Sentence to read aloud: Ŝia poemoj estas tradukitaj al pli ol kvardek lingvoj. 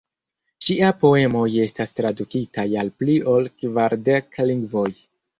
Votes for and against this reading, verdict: 1, 2, rejected